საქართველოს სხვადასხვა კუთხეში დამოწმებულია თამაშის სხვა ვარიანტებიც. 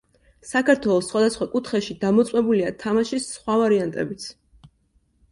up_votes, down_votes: 2, 0